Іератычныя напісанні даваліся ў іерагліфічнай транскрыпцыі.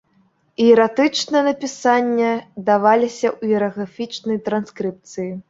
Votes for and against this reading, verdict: 0, 2, rejected